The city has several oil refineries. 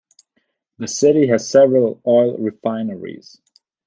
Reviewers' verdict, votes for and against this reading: accepted, 2, 0